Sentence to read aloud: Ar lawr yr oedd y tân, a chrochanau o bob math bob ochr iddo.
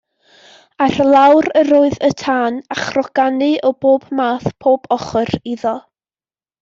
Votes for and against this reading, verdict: 0, 2, rejected